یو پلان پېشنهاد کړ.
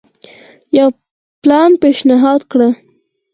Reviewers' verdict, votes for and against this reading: rejected, 2, 4